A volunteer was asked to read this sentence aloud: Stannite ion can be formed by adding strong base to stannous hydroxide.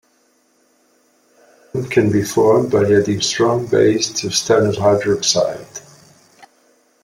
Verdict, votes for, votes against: rejected, 0, 2